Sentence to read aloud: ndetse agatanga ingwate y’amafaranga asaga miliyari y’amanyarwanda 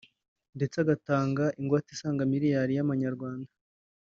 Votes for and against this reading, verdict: 0, 3, rejected